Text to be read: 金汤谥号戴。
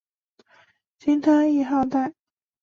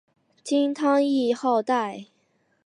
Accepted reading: first